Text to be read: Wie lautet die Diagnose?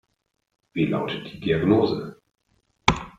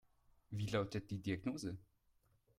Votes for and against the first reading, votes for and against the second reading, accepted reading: 0, 2, 2, 0, second